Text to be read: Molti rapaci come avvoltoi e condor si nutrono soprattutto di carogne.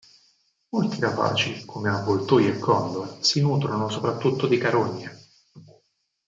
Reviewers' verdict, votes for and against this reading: rejected, 2, 4